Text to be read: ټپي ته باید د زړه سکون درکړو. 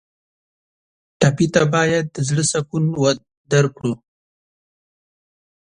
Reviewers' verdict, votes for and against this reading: rejected, 4, 5